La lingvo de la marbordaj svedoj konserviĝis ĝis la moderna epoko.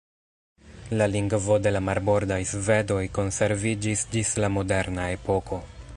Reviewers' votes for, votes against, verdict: 1, 2, rejected